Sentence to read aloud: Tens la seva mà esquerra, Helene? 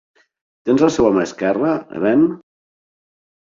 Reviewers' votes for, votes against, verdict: 6, 0, accepted